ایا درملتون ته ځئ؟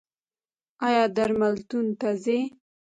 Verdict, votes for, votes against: rejected, 1, 2